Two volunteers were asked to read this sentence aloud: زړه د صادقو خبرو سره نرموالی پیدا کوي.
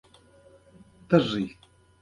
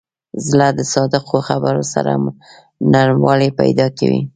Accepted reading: first